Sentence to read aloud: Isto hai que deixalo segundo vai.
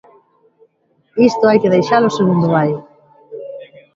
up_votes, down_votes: 1, 2